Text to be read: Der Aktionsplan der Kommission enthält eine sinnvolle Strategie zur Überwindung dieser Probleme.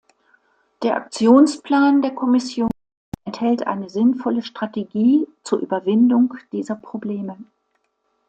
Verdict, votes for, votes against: accepted, 2, 0